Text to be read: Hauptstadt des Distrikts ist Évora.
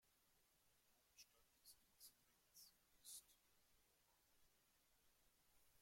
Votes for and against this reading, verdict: 0, 2, rejected